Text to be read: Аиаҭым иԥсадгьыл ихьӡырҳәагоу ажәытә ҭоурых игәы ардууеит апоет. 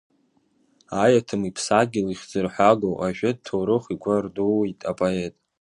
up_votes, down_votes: 2, 0